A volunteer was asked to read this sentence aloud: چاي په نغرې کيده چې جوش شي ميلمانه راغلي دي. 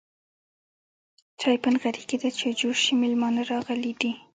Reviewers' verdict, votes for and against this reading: rejected, 1, 2